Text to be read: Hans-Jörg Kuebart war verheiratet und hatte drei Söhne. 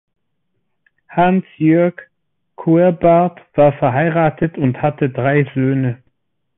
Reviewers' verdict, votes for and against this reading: accepted, 2, 0